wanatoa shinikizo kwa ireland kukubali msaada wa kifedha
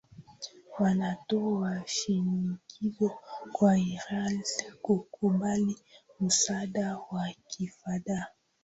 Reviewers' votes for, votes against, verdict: 14, 10, accepted